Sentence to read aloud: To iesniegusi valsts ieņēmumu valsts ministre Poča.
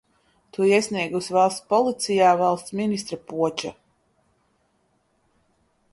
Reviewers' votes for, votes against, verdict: 0, 2, rejected